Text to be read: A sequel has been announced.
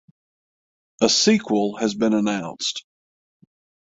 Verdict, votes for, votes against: accepted, 6, 0